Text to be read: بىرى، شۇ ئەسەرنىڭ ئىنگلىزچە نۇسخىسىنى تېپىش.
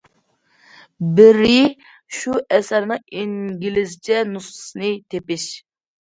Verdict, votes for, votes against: accepted, 2, 0